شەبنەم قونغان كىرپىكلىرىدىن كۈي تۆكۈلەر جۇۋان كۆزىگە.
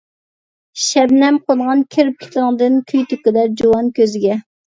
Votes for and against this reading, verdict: 0, 2, rejected